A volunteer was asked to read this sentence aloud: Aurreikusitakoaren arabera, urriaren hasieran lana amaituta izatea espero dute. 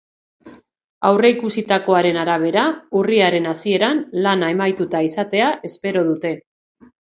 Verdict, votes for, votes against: accepted, 2, 0